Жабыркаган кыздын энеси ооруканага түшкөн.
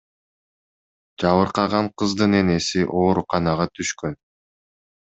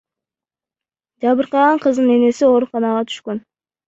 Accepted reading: first